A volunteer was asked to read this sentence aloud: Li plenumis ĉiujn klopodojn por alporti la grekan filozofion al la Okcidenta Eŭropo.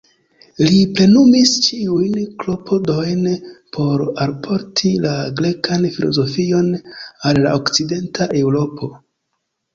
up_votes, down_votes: 2, 0